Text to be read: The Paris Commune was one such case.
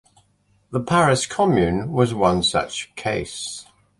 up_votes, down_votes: 2, 0